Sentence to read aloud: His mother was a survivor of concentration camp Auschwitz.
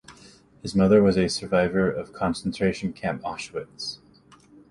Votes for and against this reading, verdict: 0, 2, rejected